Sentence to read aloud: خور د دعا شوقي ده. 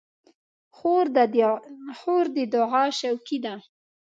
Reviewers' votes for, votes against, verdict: 0, 2, rejected